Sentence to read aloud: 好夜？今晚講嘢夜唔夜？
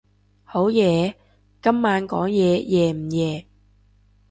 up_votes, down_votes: 3, 0